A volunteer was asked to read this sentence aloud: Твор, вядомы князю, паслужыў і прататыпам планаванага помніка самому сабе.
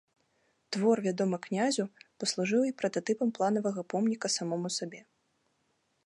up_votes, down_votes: 2, 0